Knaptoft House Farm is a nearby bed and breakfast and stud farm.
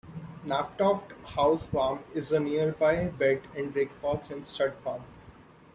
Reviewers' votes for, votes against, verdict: 0, 2, rejected